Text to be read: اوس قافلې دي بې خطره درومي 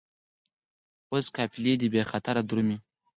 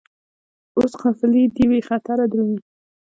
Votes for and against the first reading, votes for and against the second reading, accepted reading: 4, 0, 1, 2, first